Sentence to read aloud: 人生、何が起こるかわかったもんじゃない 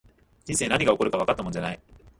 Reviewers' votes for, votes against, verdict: 1, 2, rejected